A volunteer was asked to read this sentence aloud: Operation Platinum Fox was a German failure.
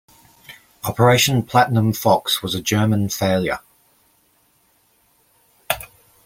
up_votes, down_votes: 2, 0